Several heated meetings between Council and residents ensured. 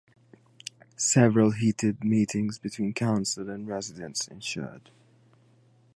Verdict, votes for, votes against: accepted, 2, 0